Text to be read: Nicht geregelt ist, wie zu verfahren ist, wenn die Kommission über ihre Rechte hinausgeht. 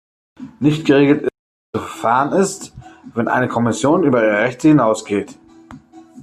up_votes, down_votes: 0, 2